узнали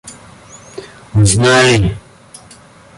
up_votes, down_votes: 1, 2